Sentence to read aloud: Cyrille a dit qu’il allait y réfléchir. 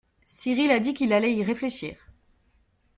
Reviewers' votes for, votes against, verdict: 2, 0, accepted